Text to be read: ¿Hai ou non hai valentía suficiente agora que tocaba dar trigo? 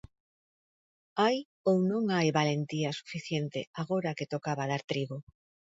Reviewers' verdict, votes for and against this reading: accepted, 2, 0